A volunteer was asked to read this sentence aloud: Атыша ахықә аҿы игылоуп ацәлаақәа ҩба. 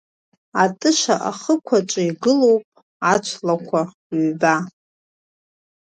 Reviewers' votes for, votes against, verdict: 1, 2, rejected